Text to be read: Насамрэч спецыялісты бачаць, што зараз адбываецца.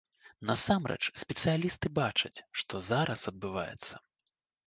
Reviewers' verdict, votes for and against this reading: accepted, 3, 0